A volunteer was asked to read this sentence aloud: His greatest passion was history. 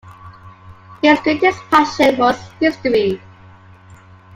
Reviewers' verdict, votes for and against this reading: accepted, 2, 0